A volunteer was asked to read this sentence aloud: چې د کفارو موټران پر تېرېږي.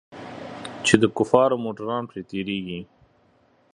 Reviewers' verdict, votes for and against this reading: accepted, 2, 1